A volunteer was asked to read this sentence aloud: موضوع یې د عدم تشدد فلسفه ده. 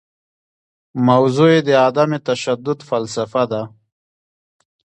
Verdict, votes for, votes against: rejected, 0, 2